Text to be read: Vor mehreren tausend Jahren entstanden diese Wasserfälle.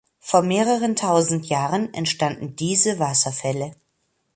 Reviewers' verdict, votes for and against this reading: accepted, 2, 0